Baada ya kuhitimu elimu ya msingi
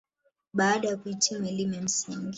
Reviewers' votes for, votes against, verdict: 1, 2, rejected